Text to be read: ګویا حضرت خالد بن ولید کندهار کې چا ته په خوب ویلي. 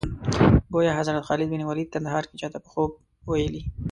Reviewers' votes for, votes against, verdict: 2, 0, accepted